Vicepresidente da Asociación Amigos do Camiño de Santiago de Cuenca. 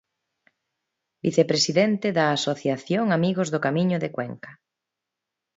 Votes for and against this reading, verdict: 0, 2, rejected